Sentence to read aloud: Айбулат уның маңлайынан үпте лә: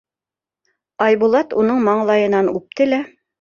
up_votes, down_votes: 2, 0